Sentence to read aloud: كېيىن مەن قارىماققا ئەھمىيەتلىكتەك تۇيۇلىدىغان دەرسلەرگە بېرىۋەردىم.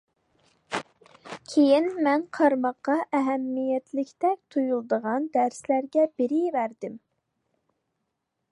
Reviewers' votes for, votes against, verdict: 2, 0, accepted